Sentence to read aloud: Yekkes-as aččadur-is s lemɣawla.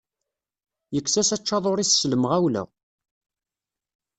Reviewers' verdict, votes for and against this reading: accepted, 2, 0